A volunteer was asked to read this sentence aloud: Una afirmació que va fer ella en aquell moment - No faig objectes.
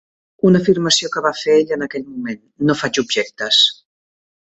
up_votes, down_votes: 3, 0